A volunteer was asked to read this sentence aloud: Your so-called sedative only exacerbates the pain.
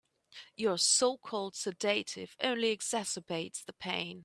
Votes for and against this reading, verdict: 2, 0, accepted